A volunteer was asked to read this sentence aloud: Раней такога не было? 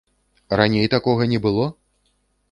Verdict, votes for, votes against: accepted, 2, 0